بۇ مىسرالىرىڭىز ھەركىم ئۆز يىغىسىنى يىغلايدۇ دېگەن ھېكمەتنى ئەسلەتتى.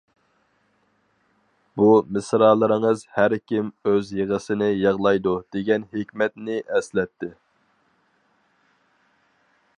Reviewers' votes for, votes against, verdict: 4, 0, accepted